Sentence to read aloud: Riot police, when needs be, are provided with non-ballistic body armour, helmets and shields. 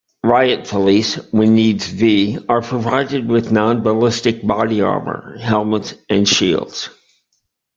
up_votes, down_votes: 2, 0